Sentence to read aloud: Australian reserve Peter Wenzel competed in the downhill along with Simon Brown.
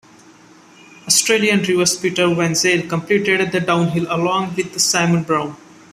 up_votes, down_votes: 0, 2